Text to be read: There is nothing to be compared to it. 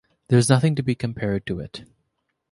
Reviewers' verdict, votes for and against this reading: accepted, 2, 0